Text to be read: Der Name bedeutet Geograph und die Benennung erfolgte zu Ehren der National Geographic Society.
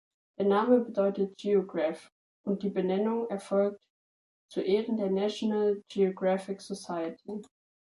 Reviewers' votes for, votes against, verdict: 0, 2, rejected